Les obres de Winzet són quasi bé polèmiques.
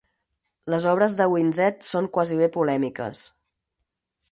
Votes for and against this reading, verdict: 4, 0, accepted